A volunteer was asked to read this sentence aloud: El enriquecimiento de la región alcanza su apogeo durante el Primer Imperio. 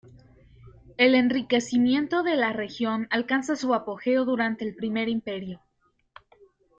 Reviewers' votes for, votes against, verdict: 1, 2, rejected